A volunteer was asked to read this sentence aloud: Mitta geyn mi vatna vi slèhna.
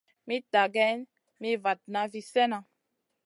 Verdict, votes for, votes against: accepted, 2, 0